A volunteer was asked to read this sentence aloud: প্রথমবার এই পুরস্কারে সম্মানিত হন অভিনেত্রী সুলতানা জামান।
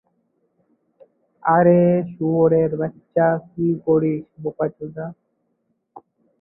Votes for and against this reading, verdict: 0, 2, rejected